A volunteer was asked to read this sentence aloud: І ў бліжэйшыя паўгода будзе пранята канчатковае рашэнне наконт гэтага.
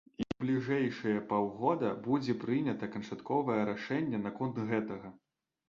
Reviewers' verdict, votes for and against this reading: rejected, 1, 2